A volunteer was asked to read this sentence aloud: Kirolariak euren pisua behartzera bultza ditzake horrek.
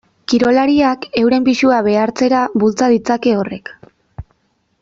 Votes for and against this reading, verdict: 2, 0, accepted